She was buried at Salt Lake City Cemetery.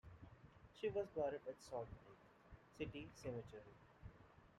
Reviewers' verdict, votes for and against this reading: rejected, 2, 3